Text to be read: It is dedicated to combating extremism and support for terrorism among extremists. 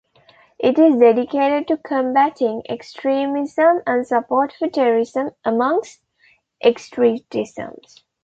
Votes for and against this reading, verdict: 1, 2, rejected